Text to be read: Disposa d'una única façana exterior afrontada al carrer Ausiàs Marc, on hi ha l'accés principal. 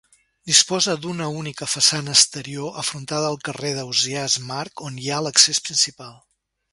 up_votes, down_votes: 0, 2